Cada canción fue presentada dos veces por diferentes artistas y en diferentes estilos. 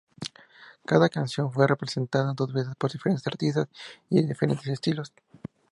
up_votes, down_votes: 0, 4